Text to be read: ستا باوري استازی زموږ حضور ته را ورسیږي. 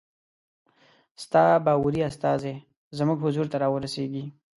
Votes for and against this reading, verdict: 2, 0, accepted